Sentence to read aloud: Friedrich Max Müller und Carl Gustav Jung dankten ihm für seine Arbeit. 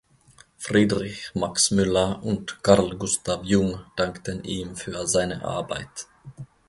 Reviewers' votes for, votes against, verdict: 2, 0, accepted